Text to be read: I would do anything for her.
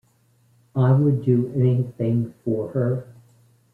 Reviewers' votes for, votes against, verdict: 2, 1, accepted